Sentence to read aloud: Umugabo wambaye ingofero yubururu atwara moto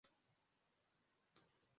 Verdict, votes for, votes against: rejected, 0, 2